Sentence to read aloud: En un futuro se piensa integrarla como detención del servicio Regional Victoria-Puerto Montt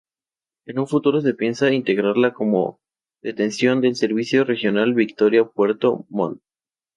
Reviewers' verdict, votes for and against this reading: accepted, 2, 0